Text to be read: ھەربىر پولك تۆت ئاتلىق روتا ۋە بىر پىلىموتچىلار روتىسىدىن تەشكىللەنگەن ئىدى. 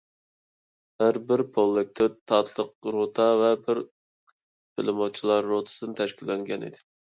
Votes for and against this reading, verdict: 0, 2, rejected